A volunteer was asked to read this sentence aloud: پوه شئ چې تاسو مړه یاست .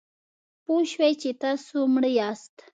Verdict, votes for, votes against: accepted, 2, 0